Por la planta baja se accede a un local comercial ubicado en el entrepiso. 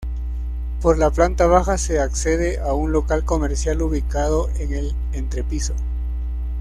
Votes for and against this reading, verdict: 2, 0, accepted